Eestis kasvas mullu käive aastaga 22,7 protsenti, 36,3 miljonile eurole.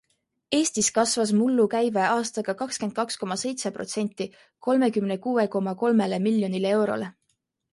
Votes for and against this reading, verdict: 0, 2, rejected